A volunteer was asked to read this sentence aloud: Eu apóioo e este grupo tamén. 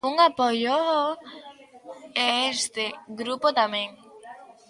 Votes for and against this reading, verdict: 0, 2, rejected